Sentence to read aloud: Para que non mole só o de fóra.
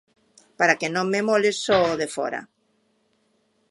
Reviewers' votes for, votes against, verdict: 0, 2, rejected